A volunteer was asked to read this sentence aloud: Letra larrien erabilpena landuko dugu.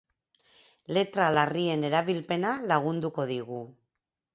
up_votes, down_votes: 2, 4